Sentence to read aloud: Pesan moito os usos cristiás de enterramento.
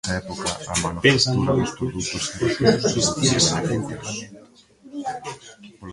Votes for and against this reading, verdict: 0, 2, rejected